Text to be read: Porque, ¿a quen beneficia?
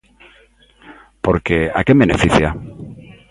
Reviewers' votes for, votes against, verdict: 2, 0, accepted